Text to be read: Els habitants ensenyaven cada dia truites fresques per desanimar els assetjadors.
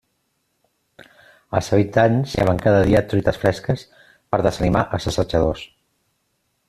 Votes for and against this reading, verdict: 1, 2, rejected